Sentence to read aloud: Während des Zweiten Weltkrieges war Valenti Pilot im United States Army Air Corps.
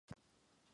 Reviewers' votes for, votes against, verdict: 0, 2, rejected